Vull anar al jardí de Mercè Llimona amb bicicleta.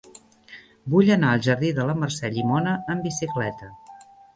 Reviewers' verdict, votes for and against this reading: rejected, 0, 2